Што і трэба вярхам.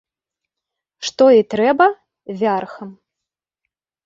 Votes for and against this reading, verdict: 0, 2, rejected